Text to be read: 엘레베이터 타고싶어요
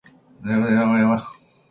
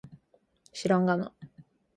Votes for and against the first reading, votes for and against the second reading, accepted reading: 1, 3, 2, 1, second